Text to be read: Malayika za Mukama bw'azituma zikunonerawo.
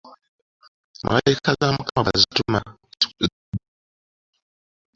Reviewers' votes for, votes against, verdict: 2, 0, accepted